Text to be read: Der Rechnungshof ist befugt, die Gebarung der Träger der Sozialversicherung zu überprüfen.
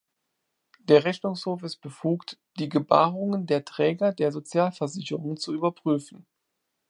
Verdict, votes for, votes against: rejected, 0, 2